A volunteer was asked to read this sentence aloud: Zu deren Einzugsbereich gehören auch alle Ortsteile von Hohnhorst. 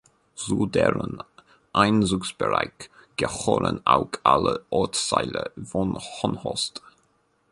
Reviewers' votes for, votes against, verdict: 1, 2, rejected